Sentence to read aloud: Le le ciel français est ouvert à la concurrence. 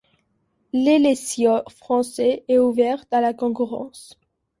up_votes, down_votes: 1, 2